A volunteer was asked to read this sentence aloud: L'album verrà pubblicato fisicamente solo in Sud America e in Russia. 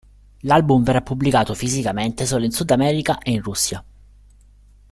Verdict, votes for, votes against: accepted, 2, 0